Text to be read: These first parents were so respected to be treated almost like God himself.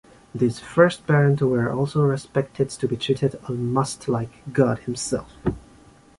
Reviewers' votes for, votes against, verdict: 0, 2, rejected